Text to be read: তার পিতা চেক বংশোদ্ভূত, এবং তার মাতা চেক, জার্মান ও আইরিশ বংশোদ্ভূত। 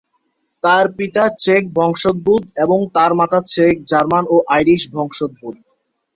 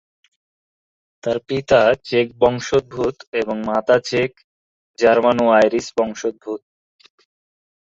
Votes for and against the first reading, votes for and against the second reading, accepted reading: 2, 0, 0, 2, first